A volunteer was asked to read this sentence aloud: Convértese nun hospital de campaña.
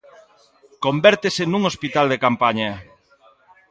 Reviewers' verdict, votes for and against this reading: accepted, 3, 0